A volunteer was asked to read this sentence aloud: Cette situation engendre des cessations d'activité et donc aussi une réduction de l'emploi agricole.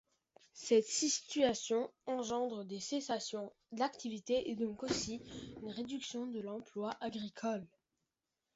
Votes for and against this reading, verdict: 1, 2, rejected